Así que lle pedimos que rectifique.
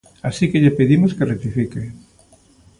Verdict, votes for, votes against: accepted, 2, 0